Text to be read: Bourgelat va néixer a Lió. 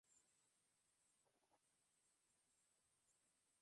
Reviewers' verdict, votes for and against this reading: rejected, 0, 3